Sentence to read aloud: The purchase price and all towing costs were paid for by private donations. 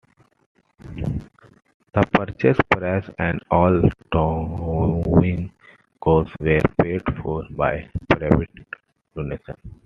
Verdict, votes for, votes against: rejected, 0, 2